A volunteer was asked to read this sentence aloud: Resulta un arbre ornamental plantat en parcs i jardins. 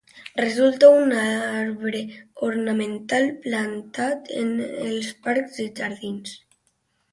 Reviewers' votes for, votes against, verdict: 0, 2, rejected